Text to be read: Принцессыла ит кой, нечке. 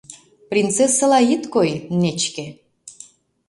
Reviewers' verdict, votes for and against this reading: accepted, 2, 0